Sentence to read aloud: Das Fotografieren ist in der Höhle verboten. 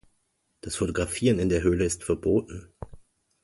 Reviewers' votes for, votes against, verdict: 1, 2, rejected